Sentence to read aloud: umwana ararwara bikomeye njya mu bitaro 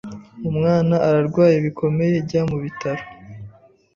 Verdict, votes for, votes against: rejected, 1, 2